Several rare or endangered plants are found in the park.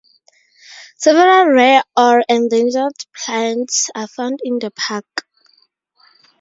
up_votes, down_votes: 2, 0